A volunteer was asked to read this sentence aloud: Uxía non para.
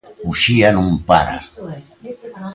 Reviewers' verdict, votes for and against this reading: rejected, 1, 3